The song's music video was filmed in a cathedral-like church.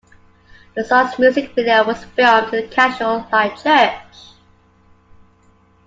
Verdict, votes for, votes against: rejected, 1, 2